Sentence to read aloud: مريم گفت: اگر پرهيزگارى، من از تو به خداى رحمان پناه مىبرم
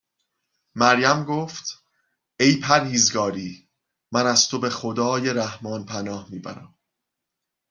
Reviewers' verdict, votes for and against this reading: rejected, 0, 2